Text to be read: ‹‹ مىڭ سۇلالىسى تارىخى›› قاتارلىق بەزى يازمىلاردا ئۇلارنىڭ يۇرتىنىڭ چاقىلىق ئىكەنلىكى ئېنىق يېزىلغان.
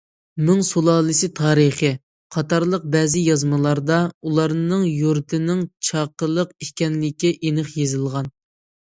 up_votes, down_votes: 2, 0